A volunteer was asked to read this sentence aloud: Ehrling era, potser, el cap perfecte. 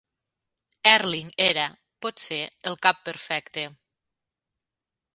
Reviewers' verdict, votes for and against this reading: accepted, 2, 0